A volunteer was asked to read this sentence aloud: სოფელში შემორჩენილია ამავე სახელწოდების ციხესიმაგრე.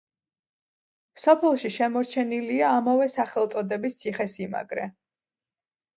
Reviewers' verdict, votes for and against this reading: accepted, 2, 0